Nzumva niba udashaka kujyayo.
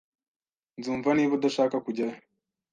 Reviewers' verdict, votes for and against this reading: accepted, 2, 0